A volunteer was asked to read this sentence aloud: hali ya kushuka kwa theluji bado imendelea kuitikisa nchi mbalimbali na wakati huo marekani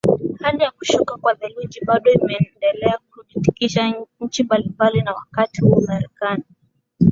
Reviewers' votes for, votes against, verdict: 2, 0, accepted